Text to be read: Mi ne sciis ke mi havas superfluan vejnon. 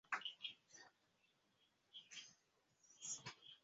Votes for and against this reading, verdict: 1, 2, rejected